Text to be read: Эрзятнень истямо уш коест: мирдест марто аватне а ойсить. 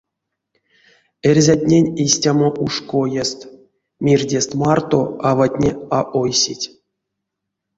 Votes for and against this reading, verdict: 2, 0, accepted